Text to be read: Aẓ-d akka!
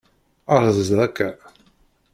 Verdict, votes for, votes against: rejected, 1, 2